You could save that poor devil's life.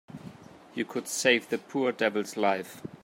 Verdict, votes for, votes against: rejected, 1, 2